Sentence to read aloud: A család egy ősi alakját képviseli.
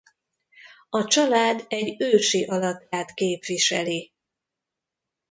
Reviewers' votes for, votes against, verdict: 2, 1, accepted